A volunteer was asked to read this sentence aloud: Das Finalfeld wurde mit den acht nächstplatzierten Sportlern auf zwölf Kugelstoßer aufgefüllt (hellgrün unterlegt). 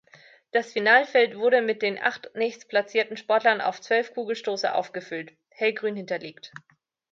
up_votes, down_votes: 1, 2